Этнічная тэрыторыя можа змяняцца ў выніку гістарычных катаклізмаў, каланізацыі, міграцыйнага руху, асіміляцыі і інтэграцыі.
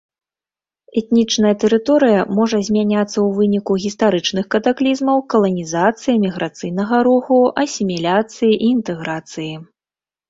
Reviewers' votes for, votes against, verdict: 2, 0, accepted